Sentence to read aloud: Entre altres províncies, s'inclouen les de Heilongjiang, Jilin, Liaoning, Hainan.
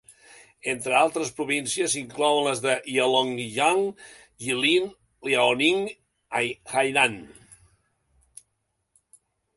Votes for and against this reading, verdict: 1, 2, rejected